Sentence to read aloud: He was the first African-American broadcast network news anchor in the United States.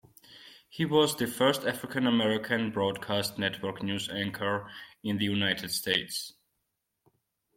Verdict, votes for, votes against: accepted, 2, 0